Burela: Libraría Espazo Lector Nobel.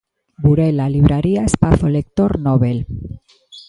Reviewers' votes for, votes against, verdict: 1, 2, rejected